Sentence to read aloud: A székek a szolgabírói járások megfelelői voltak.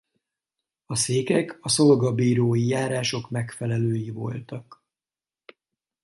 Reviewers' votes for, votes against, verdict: 4, 0, accepted